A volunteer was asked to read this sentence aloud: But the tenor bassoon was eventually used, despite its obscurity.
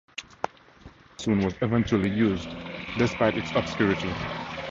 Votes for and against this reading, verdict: 2, 2, rejected